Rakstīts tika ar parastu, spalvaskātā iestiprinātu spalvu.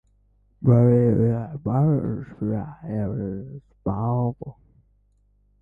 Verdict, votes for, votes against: rejected, 0, 2